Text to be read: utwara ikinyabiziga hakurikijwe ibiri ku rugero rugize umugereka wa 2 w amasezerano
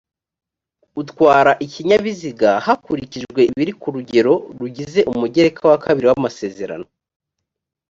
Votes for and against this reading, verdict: 0, 2, rejected